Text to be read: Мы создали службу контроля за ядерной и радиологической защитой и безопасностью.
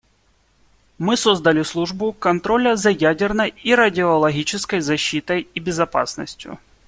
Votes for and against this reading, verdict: 2, 0, accepted